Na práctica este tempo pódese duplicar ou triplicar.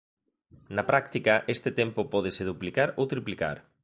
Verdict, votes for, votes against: accepted, 2, 0